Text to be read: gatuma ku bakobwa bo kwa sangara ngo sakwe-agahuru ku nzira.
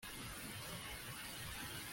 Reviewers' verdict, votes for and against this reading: rejected, 0, 2